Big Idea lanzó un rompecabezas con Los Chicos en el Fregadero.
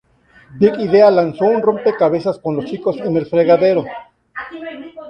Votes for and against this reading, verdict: 2, 0, accepted